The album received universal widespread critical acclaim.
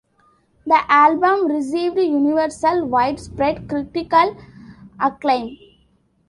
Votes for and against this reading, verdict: 1, 2, rejected